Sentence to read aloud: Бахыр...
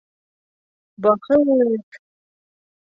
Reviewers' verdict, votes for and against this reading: accepted, 2, 0